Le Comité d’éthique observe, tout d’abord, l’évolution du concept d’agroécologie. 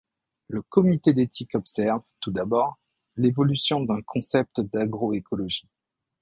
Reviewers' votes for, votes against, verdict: 0, 2, rejected